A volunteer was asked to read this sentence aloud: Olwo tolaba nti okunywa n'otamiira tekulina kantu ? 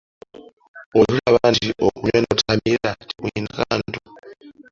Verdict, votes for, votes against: rejected, 1, 2